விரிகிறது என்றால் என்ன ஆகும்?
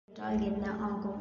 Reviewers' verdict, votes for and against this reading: rejected, 1, 2